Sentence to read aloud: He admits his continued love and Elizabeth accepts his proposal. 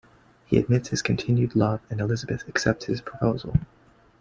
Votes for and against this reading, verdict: 3, 1, accepted